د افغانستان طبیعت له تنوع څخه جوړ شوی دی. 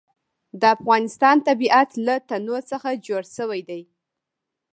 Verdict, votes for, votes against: accepted, 2, 0